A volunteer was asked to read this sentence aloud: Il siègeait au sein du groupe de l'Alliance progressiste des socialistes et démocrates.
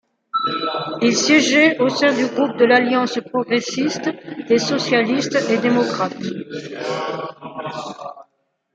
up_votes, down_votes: 1, 2